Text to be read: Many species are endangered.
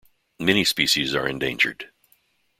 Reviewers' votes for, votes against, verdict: 2, 0, accepted